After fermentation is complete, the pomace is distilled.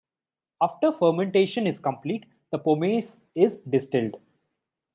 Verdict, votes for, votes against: accepted, 2, 0